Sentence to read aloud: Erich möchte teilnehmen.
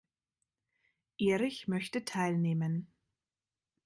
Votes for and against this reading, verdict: 2, 0, accepted